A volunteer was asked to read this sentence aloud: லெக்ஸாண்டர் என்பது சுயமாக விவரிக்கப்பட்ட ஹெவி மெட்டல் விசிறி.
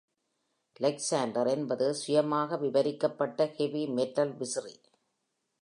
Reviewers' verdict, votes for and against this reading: accepted, 2, 0